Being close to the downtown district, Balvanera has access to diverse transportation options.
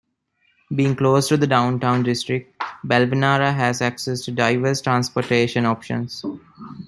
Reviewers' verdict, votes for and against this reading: rejected, 0, 2